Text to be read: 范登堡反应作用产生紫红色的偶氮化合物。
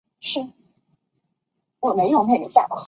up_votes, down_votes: 0, 3